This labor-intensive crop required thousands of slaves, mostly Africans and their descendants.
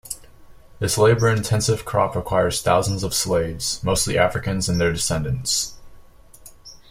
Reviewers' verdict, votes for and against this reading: rejected, 1, 2